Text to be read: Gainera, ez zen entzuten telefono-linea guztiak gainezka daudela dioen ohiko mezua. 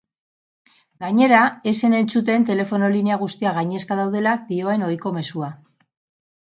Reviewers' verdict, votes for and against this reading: rejected, 2, 2